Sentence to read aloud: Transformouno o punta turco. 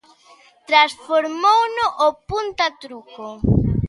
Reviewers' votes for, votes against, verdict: 0, 2, rejected